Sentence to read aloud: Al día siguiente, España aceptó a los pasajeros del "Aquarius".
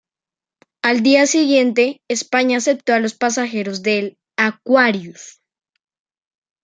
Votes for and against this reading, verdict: 2, 1, accepted